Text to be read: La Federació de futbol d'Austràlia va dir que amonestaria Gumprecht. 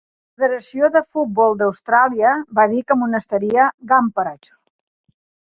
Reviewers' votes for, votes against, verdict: 1, 2, rejected